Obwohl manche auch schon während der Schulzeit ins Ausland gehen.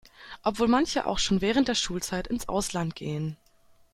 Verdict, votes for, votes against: accepted, 2, 0